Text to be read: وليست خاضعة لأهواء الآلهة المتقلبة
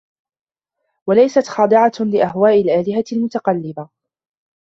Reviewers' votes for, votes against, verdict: 0, 2, rejected